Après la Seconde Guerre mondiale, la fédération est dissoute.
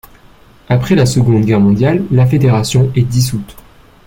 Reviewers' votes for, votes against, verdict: 3, 0, accepted